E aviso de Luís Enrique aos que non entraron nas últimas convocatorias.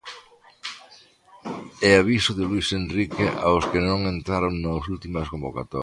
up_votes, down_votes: 0, 3